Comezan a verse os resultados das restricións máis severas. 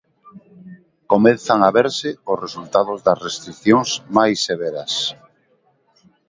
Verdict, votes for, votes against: accepted, 2, 0